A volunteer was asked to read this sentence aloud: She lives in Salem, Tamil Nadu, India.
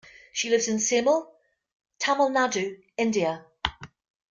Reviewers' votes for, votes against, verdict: 1, 2, rejected